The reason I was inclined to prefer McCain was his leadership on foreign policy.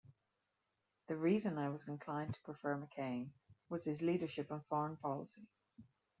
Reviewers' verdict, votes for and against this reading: rejected, 1, 2